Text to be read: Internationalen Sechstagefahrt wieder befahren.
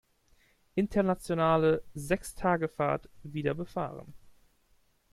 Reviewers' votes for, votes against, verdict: 0, 2, rejected